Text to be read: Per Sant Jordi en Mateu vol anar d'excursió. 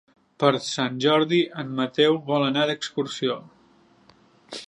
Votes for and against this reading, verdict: 2, 0, accepted